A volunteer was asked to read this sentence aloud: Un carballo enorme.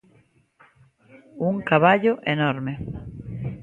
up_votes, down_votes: 0, 2